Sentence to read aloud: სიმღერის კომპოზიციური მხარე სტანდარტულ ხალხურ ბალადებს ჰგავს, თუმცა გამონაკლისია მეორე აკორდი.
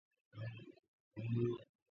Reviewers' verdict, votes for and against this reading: rejected, 0, 2